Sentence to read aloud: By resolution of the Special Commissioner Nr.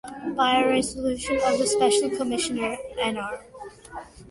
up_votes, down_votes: 2, 0